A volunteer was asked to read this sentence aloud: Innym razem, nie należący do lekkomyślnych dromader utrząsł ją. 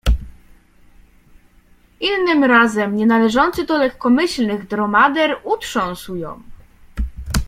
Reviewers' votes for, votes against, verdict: 2, 0, accepted